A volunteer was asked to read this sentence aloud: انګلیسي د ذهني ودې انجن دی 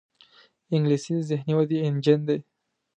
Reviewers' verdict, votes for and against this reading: accepted, 2, 0